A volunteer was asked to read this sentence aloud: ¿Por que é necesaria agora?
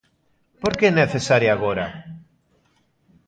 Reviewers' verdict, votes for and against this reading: accepted, 2, 0